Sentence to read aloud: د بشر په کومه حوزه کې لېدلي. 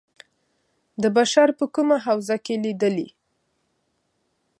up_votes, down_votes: 2, 0